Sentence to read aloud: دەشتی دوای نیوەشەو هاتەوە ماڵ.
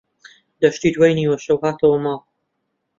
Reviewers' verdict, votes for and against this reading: accepted, 2, 0